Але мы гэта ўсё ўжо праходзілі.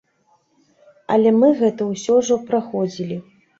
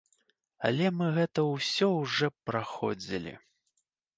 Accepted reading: first